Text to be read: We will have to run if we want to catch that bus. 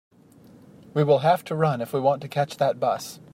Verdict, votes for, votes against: accepted, 2, 0